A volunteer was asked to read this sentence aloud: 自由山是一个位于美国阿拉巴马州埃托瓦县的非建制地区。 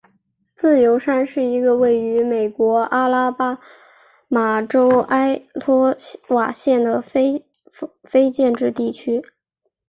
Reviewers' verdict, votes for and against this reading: rejected, 3, 3